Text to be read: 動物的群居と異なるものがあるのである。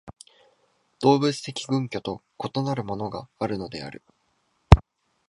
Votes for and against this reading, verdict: 2, 0, accepted